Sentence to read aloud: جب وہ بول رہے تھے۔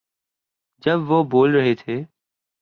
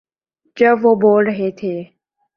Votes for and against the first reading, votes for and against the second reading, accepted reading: 9, 0, 0, 2, first